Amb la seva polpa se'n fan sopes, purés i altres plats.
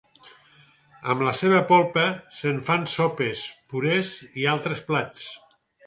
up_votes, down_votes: 4, 0